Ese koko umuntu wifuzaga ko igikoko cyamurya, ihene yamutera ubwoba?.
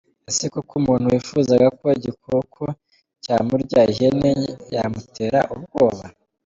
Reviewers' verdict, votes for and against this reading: accepted, 2, 1